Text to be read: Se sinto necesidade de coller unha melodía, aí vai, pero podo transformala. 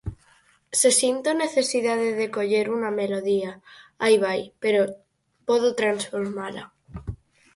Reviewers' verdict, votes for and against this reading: rejected, 2, 4